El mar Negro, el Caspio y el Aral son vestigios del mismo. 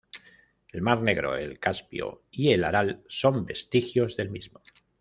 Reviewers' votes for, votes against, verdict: 2, 0, accepted